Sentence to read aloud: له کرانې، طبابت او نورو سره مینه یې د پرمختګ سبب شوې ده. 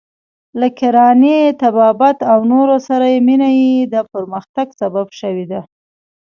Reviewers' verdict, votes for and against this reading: rejected, 1, 2